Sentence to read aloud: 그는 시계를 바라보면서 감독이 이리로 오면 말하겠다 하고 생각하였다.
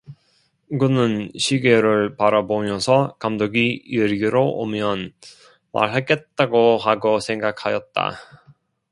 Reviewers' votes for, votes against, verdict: 1, 2, rejected